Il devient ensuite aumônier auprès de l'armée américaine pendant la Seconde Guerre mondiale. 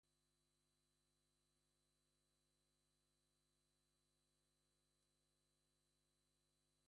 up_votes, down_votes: 1, 2